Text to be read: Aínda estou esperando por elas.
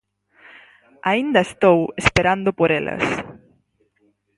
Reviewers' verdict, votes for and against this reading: accepted, 4, 0